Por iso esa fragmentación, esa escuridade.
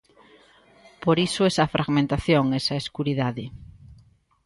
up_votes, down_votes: 2, 0